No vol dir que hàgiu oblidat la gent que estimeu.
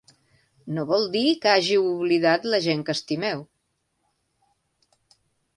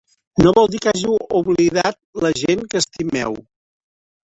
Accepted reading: first